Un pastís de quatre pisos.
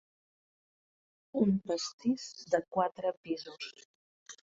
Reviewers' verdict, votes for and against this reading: accepted, 2, 0